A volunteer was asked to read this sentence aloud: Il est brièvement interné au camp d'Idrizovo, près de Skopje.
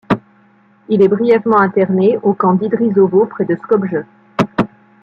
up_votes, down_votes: 2, 0